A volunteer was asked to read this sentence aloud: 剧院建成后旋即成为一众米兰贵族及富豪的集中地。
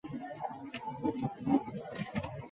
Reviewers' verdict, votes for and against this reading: rejected, 0, 2